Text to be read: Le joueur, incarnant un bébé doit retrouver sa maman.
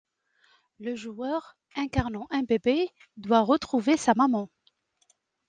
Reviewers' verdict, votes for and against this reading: accepted, 2, 0